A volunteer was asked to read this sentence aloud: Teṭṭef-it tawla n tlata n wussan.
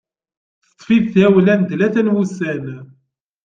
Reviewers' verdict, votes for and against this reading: accepted, 2, 0